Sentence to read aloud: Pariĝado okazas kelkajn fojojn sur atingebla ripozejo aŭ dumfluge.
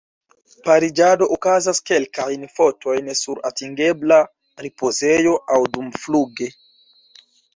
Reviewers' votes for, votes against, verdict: 0, 2, rejected